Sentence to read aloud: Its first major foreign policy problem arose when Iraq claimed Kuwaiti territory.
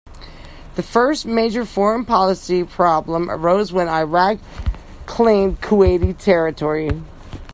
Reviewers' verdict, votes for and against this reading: rejected, 0, 2